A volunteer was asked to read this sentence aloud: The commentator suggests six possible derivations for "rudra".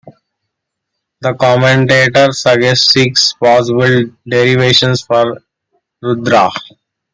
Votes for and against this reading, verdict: 2, 0, accepted